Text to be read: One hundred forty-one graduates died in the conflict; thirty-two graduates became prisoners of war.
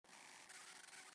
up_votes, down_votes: 1, 2